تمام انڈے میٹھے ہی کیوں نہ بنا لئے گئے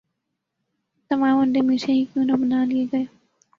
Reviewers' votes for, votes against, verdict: 2, 1, accepted